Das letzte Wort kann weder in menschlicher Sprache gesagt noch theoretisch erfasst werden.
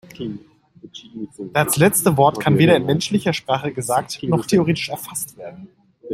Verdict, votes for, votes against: rejected, 0, 2